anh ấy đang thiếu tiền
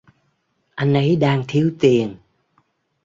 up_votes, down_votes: 2, 0